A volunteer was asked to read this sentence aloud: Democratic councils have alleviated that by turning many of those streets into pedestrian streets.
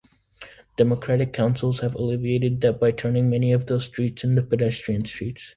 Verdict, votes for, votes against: accepted, 2, 0